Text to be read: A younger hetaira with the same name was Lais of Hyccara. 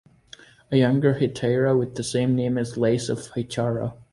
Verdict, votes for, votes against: accepted, 2, 0